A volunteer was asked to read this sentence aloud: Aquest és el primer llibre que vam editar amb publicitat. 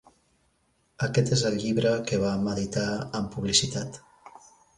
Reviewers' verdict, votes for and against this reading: rejected, 0, 2